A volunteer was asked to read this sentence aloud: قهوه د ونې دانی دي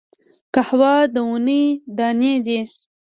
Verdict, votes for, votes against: rejected, 1, 2